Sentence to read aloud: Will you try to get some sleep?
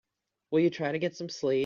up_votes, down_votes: 0, 2